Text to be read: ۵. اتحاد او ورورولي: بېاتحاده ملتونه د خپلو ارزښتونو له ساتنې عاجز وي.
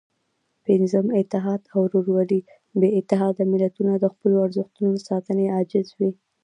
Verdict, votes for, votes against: rejected, 0, 2